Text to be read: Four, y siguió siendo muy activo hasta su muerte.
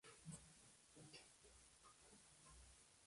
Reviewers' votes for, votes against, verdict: 0, 2, rejected